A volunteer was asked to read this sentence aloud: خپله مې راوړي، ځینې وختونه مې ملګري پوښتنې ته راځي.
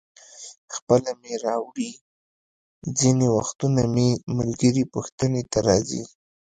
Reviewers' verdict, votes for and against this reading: rejected, 1, 2